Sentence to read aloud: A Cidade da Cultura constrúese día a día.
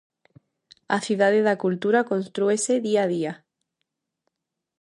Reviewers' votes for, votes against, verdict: 2, 0, accepted